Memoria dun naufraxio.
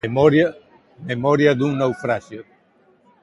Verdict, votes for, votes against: accepted, 2, 0